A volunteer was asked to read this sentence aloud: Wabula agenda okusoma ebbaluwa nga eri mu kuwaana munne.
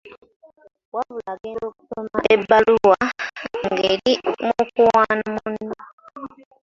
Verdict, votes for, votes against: accepted, 2, 1